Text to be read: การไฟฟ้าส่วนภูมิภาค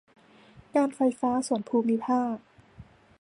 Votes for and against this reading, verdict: 2, 0, accepted